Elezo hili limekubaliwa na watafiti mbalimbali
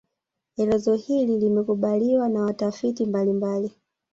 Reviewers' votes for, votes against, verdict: 2, 0, accepted